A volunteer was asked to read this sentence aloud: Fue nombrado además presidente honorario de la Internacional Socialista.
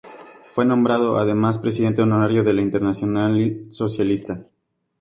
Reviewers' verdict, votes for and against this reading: rejected, 2, 2